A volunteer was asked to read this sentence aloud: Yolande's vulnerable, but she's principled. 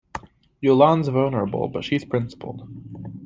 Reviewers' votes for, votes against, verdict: 2, 0, accepted